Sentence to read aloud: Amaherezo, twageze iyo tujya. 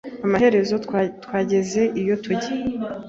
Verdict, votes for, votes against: rejected, 1, 2